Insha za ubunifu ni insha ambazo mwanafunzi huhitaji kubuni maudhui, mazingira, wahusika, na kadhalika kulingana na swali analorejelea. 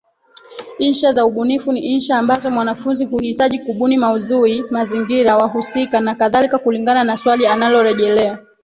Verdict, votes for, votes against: rejected, 0, 2